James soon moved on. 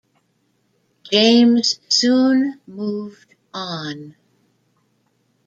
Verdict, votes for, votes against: rejected, 1, 2